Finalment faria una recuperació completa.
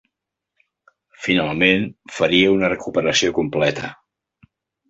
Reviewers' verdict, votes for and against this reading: accepted, 2, 0